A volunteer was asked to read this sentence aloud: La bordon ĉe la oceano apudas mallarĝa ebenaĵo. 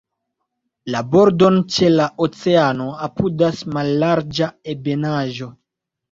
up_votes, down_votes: 3, 1